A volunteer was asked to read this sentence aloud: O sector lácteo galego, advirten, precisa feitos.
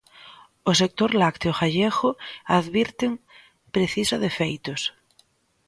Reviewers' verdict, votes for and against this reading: rejected, 1, 2